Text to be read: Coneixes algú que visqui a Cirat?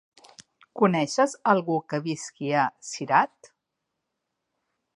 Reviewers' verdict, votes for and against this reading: accepted, 5, 0